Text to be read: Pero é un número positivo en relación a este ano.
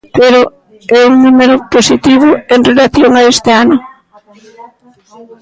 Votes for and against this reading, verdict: 1, 2, rejected